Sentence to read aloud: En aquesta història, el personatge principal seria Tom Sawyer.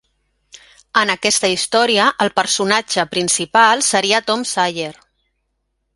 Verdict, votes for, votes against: rejected, 0, 2